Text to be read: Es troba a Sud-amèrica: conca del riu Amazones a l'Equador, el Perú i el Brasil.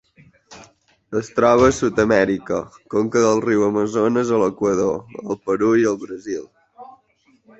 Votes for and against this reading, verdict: 3, 1, accepted